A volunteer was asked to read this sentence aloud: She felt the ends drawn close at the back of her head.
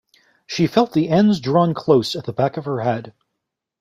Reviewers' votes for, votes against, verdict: 2, 0, accepted